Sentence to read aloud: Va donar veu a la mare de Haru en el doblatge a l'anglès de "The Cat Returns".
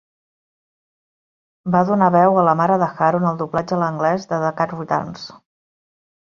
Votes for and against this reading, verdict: 0, 3, rejected